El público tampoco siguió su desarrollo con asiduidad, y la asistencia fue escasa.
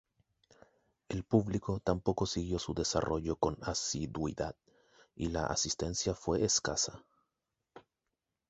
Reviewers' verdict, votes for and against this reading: rejected, 2, 2